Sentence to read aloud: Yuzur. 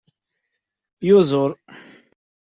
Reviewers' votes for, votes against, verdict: 2, 0, accepted